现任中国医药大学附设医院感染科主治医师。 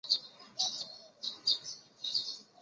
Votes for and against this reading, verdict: 0, 2, rejected